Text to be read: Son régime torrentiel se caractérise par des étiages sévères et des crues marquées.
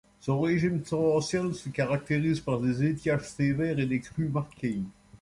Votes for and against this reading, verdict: 2, 0, accepted